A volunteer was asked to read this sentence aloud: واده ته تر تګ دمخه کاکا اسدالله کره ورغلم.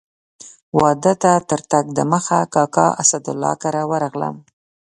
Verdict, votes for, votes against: accepted, 2, 0